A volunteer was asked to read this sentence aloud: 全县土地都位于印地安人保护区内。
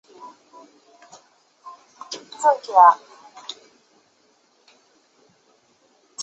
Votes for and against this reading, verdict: 0, 3, rejected